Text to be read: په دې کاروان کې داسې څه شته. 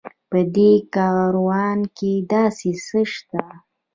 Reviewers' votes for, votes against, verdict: 2, 0, accepted